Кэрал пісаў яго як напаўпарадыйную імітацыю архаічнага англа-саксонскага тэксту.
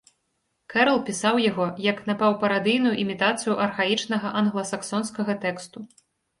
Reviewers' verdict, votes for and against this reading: accepted, 2, 0